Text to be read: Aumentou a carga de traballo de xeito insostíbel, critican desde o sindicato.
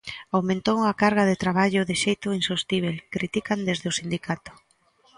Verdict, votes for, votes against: accepted, 2, 0